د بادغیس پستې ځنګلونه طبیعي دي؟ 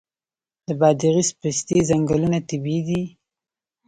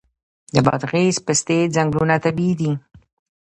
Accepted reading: first